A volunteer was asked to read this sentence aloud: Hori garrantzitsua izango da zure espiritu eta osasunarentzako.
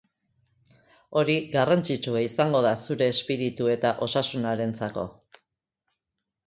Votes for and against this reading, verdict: 3, 0, accepted